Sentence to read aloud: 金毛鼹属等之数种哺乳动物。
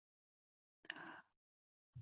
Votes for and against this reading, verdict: 0, 2, rejected